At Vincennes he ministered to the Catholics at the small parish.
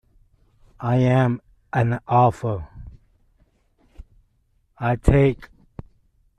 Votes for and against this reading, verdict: 0, 2, rejected